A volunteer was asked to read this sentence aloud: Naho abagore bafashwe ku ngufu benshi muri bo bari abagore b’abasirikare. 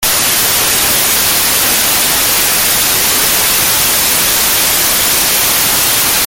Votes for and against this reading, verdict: 0, 2, rejected